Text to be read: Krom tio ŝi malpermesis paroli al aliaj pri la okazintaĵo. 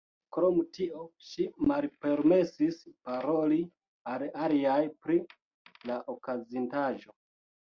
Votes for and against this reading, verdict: 2, 0, accepted